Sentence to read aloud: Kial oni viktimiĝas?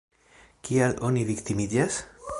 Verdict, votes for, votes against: rejected, 1, 2